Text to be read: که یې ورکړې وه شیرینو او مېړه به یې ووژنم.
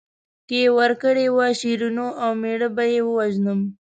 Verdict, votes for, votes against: accepted, 2, 0